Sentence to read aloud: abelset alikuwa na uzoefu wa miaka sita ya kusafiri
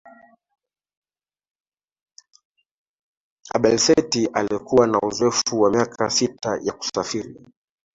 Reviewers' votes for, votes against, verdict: 2, 1, accepted